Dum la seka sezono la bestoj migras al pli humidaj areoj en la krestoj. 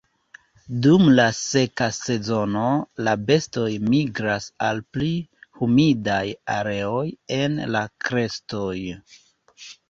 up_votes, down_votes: 2, 0